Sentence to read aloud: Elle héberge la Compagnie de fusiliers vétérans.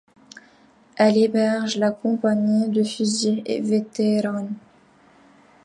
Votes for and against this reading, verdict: 0, 2, rejected